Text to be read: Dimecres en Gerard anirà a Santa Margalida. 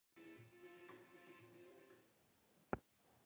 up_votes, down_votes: 0, 2